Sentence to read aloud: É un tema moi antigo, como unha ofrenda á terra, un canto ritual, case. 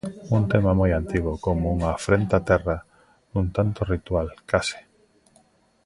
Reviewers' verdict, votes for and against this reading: rejected, 0, 3